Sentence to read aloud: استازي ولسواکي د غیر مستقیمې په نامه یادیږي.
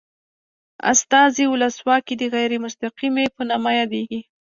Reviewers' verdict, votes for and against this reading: accepted, 2, 0